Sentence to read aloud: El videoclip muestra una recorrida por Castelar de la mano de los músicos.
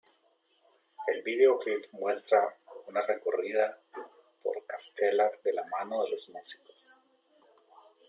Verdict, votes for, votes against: rejected, 1, 2